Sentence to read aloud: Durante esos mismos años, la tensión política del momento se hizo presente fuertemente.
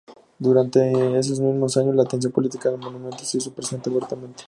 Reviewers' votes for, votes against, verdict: 0, 4, rejected